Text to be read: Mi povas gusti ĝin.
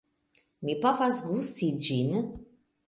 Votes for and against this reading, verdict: 2, 0, accepted